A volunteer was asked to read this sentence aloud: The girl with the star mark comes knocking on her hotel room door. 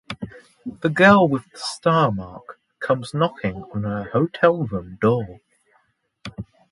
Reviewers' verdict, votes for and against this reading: rejected, 0, 2